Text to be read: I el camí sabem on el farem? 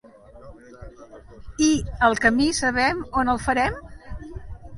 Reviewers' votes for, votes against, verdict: 1, 2, rejected